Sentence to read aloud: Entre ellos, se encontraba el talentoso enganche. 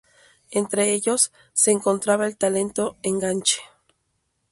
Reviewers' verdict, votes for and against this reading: rejected, 0, 2